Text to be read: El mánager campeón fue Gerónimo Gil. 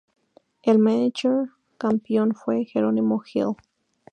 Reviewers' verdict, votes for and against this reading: accepted, 2, 0